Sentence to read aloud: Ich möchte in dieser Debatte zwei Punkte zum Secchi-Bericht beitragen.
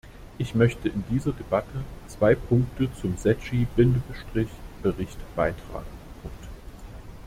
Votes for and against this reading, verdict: 0, 2, rejected